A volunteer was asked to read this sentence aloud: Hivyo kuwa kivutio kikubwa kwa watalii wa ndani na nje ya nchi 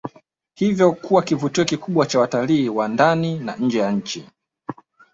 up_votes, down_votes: 2, 1